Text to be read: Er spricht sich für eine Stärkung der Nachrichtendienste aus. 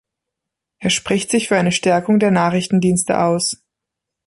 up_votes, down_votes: 1, 2